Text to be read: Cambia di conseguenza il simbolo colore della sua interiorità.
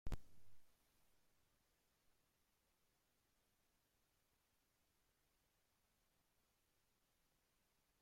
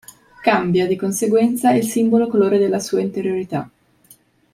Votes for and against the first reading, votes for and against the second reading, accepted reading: 1, 2, 4, 0, second